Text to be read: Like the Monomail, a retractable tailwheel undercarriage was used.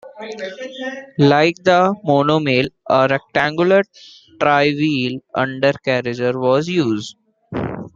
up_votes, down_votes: 0, 2